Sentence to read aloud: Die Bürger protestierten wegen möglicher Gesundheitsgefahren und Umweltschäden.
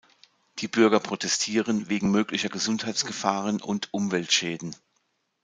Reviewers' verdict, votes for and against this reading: accepted, 2, 0